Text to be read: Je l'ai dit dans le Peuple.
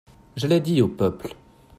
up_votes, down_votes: 0, 2